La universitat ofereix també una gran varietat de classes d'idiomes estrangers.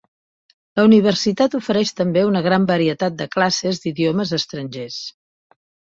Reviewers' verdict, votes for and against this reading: accepted, 2, 0